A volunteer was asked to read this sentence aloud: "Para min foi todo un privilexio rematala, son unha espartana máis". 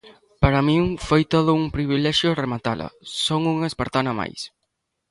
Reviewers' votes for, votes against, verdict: 2, 0, accepted